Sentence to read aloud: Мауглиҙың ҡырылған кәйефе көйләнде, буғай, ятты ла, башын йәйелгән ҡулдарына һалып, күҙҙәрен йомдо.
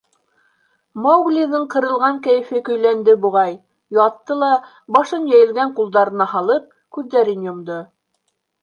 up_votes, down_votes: 2, 0